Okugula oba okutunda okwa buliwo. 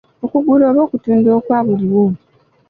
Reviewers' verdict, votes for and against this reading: accepted, 2, 0